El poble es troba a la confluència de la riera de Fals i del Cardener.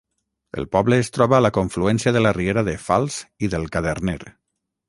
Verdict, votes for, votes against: rejected, 0, 6